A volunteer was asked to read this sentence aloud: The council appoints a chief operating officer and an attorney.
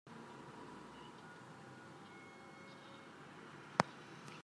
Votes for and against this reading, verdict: 0, 2, rejected